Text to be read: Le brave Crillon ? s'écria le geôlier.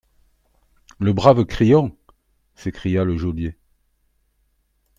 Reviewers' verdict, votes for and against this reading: accepted, 2, 0